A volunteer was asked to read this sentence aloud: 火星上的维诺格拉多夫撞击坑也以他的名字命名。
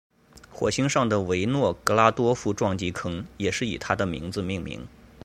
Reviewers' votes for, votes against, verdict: 1, 2, rejected